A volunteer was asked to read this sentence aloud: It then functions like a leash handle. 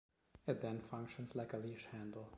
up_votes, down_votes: 2, 0